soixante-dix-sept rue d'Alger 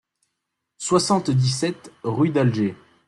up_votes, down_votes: 2, 0